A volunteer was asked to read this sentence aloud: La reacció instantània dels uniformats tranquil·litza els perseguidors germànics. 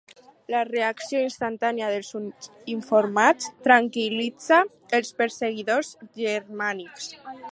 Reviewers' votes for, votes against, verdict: 0, 2, rejected